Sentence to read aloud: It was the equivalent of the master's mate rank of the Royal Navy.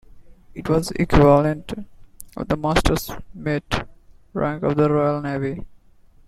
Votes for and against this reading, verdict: 1, 2, rejected